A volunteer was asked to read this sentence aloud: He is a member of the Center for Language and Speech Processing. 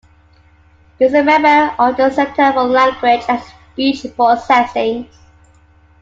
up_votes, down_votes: 0, 2